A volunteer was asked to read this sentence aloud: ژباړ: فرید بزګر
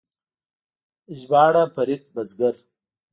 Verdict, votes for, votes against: accepted, 2, 0